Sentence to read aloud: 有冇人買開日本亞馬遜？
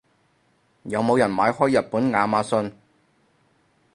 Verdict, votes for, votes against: accepted, 4, 0